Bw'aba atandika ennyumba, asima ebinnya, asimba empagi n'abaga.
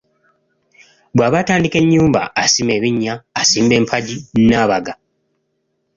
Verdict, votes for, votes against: accepted, 2, 0